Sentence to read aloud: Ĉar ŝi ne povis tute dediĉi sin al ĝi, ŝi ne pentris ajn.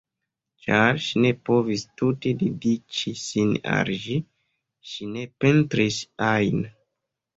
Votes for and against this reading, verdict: 1, 2, rejected